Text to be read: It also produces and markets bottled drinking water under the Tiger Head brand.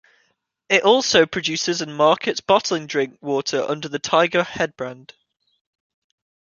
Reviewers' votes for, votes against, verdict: 1, 2, rejected